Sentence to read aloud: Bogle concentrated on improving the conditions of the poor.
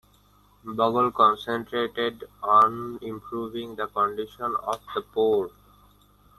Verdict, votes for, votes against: rejected, 0, 2